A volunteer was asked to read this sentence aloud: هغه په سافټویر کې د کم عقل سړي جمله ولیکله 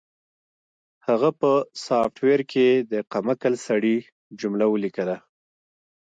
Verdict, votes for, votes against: rejected, 0, 2